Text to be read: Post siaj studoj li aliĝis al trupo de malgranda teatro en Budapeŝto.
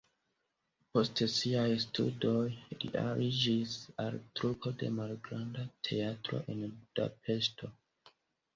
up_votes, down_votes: 2, 1